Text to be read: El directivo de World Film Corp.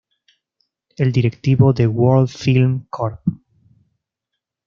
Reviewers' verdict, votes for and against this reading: accepted, 2, 0